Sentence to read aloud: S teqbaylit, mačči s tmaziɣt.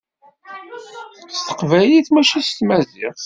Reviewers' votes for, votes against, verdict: 0, 2, rejected